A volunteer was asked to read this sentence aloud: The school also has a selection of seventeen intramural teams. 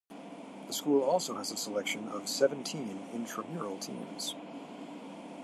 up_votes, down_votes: 2, 0